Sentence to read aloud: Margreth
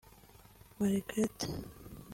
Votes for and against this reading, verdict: 0, 2, rejected